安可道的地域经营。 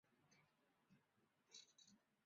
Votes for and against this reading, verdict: 0, 3, rejected